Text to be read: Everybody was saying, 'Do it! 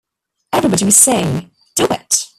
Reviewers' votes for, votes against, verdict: 0, 2, rejected